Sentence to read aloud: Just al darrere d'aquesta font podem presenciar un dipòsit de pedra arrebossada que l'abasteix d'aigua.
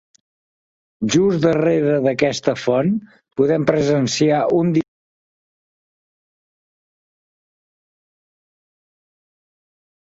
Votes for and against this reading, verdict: 0, 2, rejected